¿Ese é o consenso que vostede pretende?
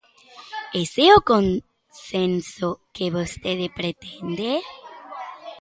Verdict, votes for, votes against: rejected, 1, 2